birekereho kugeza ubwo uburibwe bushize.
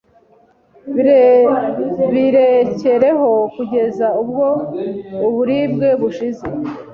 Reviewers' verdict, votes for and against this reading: rejected, 1, 2